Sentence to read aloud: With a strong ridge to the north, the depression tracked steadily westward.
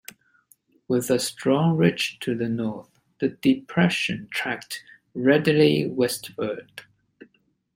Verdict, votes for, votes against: rejected, 0, 2